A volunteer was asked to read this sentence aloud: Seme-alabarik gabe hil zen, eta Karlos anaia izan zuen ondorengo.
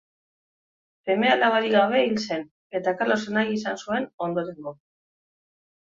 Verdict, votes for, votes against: accepted, 3, 2